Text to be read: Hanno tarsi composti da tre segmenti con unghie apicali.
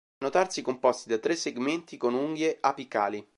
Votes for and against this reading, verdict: 1, 2, rejected